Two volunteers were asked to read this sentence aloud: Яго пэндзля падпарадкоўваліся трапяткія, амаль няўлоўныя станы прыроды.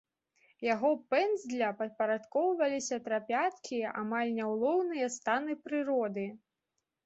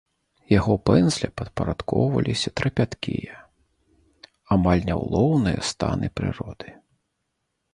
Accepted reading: second